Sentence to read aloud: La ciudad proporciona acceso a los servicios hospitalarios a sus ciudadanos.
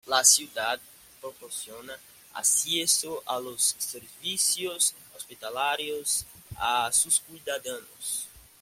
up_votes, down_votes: 2, 0